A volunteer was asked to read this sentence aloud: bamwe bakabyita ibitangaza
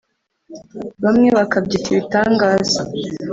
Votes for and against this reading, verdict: 3, 0, accepted